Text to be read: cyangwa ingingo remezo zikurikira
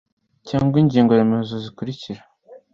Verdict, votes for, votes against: accepted, 2, 0